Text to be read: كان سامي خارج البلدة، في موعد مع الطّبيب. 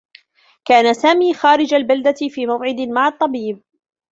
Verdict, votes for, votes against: rejected, 0, 2